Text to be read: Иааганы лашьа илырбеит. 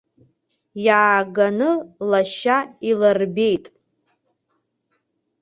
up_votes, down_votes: 2, 0